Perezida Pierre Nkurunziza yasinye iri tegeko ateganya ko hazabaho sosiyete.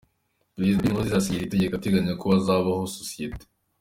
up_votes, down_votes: 3, 2